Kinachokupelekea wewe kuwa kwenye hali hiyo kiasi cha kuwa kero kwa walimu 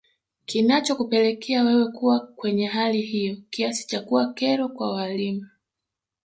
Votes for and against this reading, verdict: 1, 2, rejected